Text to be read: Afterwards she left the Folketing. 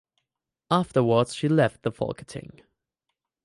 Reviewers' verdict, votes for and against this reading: rejected, 2, 2